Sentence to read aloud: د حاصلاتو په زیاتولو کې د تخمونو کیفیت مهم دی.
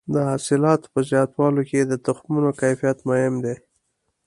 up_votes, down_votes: 2, 0